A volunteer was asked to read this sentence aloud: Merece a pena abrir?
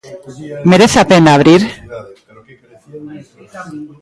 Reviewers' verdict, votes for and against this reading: rejected, 0, 2